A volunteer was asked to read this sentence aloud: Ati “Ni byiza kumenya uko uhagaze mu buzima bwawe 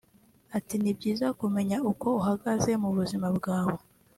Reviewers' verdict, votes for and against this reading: accepted, 2, 0